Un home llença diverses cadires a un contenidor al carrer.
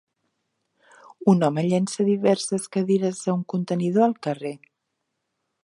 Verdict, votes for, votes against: accepted, 3, 0